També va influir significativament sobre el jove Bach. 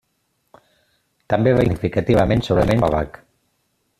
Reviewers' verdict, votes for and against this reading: rejected, 0, 2